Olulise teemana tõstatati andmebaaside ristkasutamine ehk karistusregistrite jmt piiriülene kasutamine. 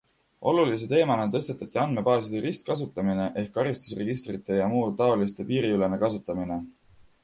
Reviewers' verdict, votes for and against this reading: accepted, 2, 0